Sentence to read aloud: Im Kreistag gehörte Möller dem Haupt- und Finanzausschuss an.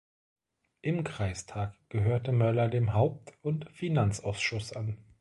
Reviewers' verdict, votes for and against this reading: accepted, 2, 0